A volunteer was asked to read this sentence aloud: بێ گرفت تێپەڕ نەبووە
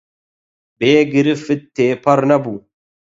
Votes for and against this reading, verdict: 4, 4, rejected